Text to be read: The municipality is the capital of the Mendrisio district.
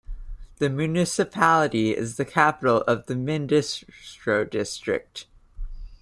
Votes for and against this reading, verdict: 1, 2, rejected